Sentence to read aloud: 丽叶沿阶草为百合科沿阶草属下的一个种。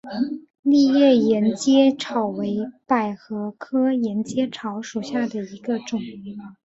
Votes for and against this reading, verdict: 1, 2, rejected